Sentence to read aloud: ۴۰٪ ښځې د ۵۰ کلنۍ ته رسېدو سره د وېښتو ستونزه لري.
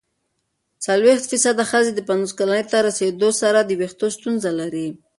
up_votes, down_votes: 0, 2